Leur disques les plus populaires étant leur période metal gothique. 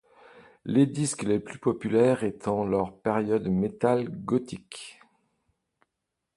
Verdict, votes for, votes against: rejected, 1, 2